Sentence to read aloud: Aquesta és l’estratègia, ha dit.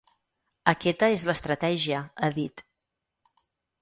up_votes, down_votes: 2, 4